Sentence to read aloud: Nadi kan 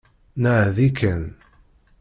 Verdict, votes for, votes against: rejected, 1, 2